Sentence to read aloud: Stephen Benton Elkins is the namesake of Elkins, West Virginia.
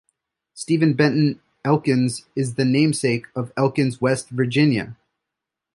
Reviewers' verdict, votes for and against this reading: accepted, 2, 0